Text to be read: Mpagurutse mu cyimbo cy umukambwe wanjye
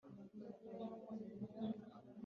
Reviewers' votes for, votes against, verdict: 0, 3, rejected